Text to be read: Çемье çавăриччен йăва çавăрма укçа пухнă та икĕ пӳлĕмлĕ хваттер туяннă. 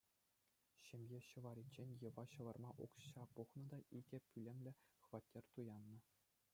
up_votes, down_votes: 1, 2